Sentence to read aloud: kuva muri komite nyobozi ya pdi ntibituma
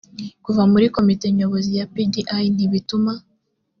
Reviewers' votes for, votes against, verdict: 3, 0, accepted